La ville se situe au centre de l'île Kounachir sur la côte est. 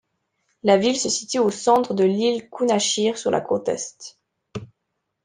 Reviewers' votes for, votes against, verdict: 2, 0, accepted